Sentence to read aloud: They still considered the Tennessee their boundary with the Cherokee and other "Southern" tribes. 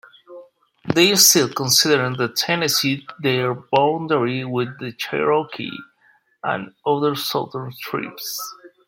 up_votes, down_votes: 0, 2